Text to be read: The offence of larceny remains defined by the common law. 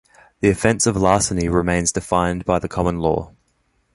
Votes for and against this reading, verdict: 2, 1, accepted